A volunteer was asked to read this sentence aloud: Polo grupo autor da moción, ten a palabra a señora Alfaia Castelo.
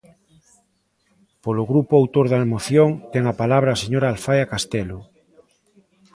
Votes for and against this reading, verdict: 2, 0, accepted